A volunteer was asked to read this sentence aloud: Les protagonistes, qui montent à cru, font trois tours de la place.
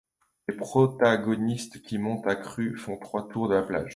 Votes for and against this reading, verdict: 1, 2, rejected